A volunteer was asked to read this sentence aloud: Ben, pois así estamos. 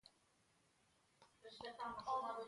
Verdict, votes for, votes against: rejected, 0, 2